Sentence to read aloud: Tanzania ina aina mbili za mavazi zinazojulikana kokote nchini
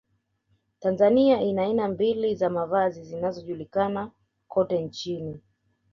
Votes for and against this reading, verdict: 2, 1, accepted